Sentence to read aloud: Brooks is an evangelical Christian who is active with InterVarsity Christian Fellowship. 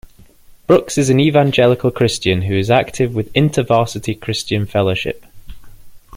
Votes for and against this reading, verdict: 2, 0, accepted